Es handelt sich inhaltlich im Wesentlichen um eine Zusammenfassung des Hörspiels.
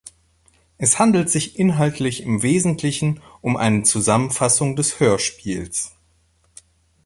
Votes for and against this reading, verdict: 1, 3, rejected